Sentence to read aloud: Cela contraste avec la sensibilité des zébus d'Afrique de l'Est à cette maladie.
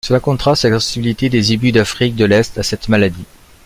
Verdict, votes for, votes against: rejected, 0, 2